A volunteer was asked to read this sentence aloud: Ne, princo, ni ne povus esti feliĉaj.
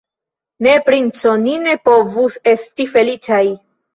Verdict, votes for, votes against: rejected, 1, 2